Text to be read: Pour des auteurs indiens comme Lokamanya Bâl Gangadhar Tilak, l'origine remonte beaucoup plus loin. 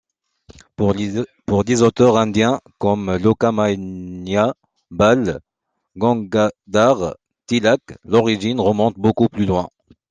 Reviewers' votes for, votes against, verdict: 1, 2, rejected